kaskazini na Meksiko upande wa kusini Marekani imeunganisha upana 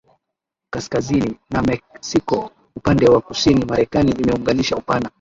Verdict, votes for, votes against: rejected, 0, 2